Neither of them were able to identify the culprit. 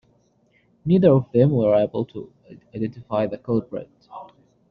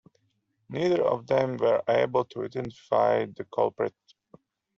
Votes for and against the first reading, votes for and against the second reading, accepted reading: 1, 2, 2, 0, second